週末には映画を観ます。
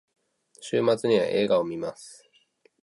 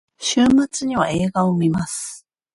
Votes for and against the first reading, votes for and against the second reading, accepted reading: 2, 0, 1, 2, first